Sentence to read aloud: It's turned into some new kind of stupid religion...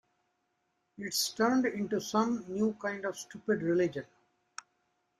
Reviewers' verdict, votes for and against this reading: accepted, 2, 0